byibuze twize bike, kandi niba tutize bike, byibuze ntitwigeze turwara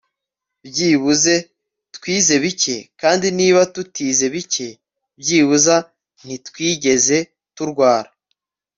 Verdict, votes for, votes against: accepted, 3, 0